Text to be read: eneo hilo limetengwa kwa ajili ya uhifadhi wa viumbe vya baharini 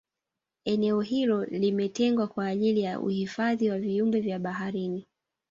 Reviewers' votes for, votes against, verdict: 0, 2, rejected